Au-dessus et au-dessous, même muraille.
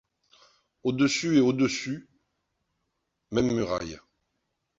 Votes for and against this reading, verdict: 1, 2, rejected